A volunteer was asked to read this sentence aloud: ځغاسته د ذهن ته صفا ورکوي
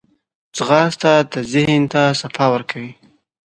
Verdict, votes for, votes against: accepted, 2, 0